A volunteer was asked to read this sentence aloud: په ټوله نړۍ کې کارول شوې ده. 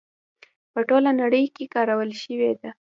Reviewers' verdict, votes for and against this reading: rejected, 0, 2